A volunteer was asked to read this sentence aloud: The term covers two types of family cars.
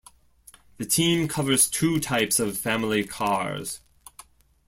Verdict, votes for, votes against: rejected, 1, 2